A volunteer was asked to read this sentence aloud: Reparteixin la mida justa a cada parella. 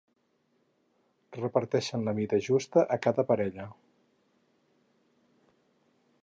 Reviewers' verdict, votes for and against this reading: rejected, 2, 6